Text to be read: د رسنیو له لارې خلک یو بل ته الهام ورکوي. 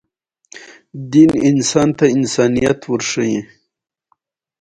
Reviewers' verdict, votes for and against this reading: accepted, 2, 0